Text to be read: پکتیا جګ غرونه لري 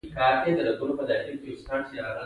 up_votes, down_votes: 2, 1